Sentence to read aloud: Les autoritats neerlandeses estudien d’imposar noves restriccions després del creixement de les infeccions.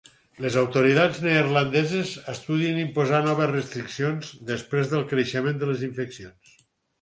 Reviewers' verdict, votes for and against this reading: rejected, 2, 4